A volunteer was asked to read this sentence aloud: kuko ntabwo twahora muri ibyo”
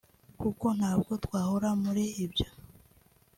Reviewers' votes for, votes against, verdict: 2, 0, accepted